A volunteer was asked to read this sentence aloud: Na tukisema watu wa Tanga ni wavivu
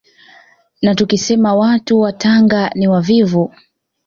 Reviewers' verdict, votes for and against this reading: accepted, 2, 0